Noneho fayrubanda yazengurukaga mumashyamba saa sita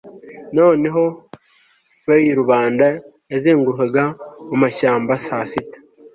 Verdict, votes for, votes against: accepted, 2, 0